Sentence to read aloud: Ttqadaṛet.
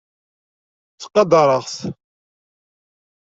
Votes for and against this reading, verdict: 1, 3, rejected